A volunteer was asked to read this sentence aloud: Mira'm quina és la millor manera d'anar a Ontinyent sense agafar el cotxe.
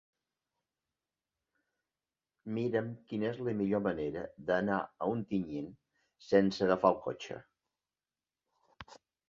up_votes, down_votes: 2, 1